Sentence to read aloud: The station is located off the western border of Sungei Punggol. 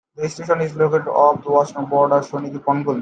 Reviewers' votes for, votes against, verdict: 1, 2, rejected